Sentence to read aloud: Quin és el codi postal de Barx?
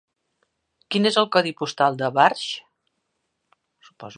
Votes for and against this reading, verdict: 1, 3, rejected